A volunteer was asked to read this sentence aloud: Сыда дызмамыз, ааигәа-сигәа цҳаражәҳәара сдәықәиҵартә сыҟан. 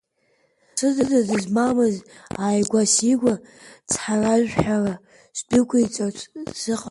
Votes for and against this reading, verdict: 1, 2, rejected